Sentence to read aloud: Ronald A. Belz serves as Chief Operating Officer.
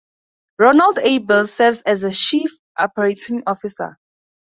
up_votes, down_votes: 2, 0